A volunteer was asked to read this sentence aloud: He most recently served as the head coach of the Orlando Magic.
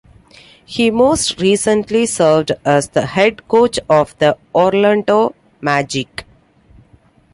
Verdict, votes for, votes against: accepted, 2, 0